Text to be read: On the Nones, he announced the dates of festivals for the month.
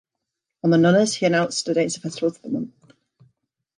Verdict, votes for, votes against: rejected, 0, 2